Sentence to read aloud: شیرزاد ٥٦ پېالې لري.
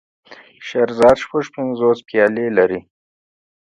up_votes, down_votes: 0, 2